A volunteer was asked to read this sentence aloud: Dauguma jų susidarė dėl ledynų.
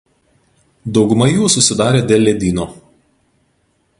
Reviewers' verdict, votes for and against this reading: rejected, 0, 2